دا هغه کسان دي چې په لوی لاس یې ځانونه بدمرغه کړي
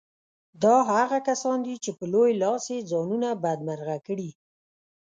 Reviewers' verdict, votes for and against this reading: rejected, 0, 2